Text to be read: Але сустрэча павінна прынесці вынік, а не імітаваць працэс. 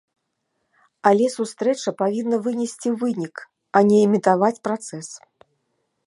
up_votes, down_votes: 1, 2